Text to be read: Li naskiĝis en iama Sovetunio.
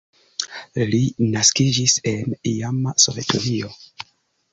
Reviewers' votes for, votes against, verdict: 2, 0, accepted